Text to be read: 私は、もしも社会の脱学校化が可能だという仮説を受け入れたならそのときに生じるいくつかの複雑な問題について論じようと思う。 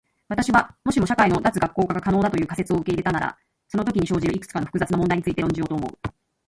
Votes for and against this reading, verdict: 2, 1, accepted